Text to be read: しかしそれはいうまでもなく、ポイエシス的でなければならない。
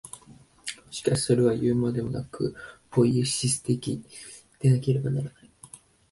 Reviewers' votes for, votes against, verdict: 2, 0, accepted